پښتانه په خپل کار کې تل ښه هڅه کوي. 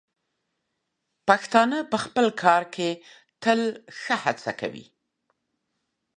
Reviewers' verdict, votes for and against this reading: accepted, 2, 0